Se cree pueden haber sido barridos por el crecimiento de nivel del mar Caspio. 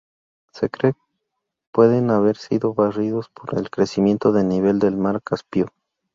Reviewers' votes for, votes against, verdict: 0, 4, rejected